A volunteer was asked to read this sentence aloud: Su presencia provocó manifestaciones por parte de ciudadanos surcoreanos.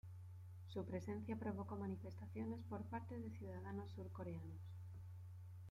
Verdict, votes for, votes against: accepted, 2, 0